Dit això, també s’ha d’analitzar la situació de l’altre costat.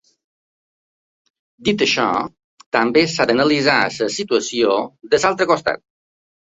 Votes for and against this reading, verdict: 0, 2, rejected